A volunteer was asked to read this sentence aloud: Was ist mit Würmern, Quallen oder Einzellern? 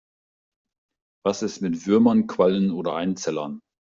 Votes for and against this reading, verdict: 2, 0, accepted